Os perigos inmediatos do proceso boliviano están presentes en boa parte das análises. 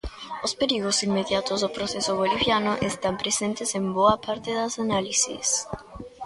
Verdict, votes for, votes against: rejected, 1, 2